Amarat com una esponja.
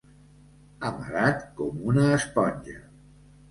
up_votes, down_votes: 3, 0